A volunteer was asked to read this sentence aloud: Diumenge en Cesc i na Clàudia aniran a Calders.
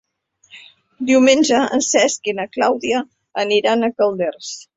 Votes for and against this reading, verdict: 3, 0, accepted